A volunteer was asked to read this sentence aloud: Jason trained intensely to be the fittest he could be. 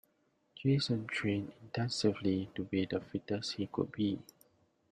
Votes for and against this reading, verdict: 1, 2, rejected